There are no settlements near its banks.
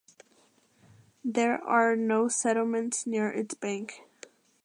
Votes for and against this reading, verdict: 1, 5, rejected